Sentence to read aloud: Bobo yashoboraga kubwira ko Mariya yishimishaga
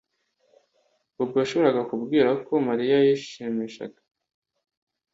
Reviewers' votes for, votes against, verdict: 2, 0, accepted